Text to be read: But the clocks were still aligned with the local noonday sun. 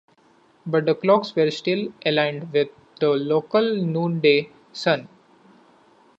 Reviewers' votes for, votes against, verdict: 2, 0, accepted